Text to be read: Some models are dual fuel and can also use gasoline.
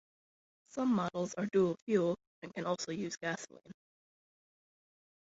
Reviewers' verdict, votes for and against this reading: accepted, 2, 0